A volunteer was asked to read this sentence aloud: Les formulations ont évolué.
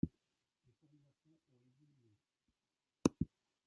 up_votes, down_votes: 0, 2